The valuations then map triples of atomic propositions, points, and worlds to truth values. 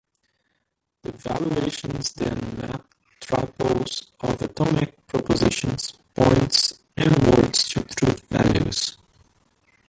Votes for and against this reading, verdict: 0, 2, rejected